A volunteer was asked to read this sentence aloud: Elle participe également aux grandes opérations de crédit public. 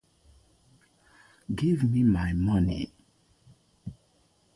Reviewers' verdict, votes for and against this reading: rejected, 0, 2